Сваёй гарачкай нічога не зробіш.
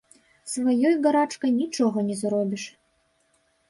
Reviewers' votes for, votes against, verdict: 1, 2, rejected